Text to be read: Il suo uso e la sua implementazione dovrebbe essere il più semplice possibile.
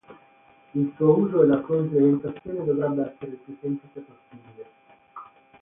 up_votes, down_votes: 3, 6